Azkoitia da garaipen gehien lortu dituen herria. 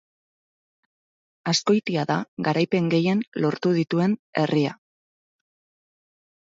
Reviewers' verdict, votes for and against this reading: accepted, 4, 0